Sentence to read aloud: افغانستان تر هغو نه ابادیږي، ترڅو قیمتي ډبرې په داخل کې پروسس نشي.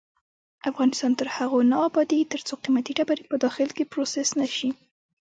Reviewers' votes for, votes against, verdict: 1, 2, rejected